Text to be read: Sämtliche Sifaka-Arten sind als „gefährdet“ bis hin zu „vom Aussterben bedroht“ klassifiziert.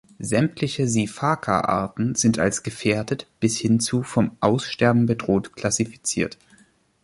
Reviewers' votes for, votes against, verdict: 2, 0, accepted